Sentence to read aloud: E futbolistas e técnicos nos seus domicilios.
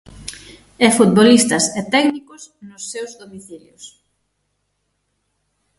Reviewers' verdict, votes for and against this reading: accepted, 6, 3